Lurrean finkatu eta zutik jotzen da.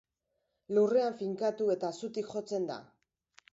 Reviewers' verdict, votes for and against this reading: accepted, 2, 0